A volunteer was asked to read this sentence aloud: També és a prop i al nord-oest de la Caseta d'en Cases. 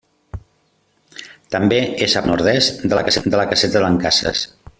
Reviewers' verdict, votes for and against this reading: rejected, 0, 2